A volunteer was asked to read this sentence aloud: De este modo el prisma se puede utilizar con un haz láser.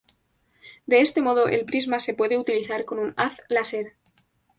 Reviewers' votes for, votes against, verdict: 2, 0, accepted